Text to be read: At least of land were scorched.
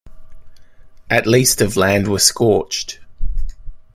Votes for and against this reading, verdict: 0, 2, rejected